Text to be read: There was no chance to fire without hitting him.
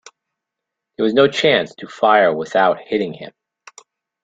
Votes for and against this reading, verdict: 2, 0, accepted